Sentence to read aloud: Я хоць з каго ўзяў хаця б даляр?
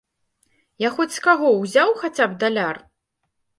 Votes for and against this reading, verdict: 2, 0, accepted